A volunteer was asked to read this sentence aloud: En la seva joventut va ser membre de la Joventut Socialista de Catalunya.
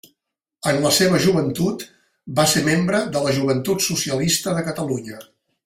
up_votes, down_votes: 3, 0